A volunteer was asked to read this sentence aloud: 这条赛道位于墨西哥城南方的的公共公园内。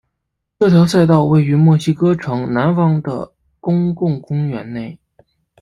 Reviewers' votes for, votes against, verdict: 2, 0, accepted